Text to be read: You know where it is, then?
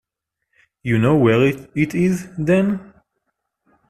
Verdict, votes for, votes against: rejected, 0, 2